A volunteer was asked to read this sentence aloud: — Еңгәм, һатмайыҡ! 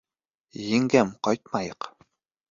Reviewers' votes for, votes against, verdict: 0, 2, rejected